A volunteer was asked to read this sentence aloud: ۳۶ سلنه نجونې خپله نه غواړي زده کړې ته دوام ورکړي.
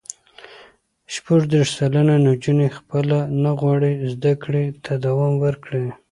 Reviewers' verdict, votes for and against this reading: rejected, 0, 2